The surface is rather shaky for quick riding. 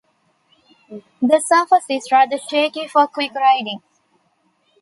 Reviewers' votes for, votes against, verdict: 2, 0, accepted